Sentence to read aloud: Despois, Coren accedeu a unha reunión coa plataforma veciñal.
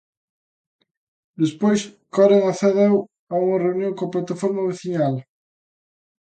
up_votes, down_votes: 2, 0